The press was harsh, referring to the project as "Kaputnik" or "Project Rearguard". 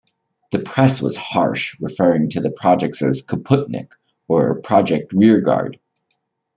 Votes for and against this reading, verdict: 2, 0, accepted